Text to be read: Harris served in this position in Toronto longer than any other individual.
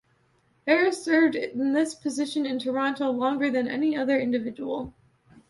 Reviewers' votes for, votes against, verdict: 2, 0, accepted